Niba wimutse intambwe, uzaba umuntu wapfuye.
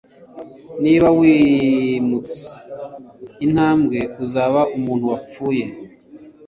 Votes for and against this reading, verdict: 2, 0, accepted